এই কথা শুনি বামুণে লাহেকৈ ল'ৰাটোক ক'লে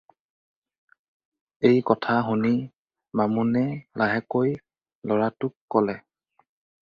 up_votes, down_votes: 4, 0